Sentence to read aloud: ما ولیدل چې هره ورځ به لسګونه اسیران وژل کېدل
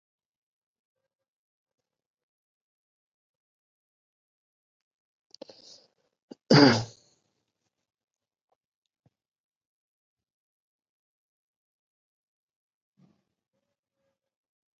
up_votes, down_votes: 1, 2